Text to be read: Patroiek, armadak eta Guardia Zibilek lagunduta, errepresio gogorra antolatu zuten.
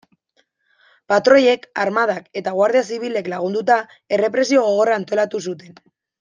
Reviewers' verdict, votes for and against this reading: accepted, 2, 0